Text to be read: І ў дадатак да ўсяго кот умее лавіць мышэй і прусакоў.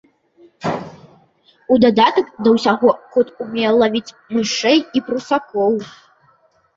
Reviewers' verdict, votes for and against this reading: rejected, 0, 2